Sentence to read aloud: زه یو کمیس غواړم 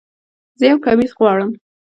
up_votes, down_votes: 1, 2